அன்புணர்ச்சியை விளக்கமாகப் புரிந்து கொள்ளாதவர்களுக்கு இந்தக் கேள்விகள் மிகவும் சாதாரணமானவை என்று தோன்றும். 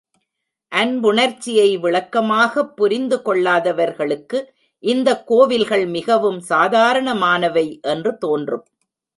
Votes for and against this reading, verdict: 0, 2, rejected